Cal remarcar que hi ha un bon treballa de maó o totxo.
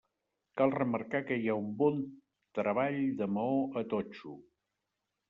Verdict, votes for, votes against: rejected, 0, 2